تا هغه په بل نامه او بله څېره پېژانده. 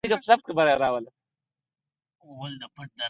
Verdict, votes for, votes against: accepted, 6, 0